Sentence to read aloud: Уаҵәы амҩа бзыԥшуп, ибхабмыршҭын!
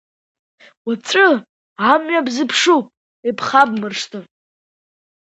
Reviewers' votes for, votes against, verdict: 2, 0, accepted